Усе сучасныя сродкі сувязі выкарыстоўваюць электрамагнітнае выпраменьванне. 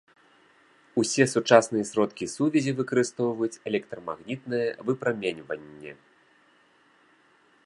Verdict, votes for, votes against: accepted, 2, 0